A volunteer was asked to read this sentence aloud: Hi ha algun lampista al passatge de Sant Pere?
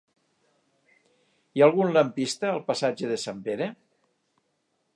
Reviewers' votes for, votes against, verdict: 3, 0, accepted